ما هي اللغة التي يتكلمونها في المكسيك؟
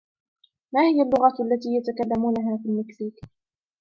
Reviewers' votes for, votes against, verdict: 2, 0, accepted